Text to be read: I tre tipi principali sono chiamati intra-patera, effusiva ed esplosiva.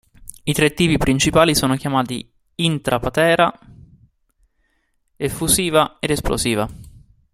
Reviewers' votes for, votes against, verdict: 1, 2, rejected